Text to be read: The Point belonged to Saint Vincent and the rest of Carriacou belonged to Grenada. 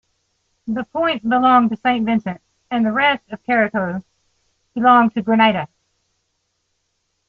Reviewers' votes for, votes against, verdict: 2, 0, accepted